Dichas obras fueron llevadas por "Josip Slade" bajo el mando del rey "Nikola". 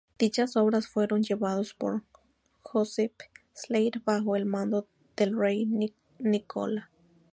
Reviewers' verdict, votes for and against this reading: rejected, 2, 2